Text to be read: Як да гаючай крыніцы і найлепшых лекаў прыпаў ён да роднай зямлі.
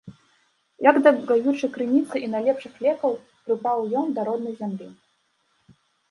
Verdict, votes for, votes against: rejected, 1, 2